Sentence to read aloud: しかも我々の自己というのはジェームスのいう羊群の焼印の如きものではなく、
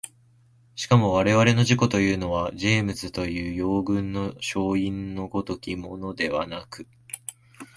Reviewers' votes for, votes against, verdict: 3, 2, accepted